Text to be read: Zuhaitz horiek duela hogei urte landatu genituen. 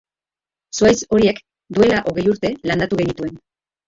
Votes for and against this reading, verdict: 2, 0, accepted